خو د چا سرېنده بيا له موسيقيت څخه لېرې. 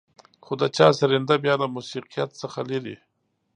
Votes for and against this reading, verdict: 2, 0, accepted